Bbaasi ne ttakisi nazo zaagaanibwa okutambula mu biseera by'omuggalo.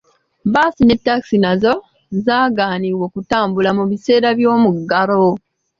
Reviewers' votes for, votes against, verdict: 2, 1, accepted